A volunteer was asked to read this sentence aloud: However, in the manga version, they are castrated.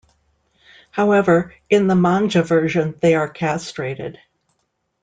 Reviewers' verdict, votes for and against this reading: rejected, 0, 2